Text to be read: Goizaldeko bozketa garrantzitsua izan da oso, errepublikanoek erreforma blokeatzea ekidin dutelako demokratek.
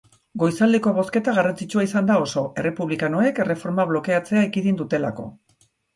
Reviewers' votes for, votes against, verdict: 0, 2, rejected